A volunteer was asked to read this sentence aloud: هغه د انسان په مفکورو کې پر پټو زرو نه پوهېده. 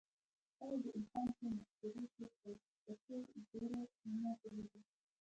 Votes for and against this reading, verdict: 1, 2, rejected